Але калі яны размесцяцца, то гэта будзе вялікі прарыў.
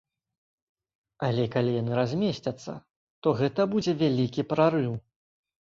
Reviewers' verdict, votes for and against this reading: accepted, 3, 0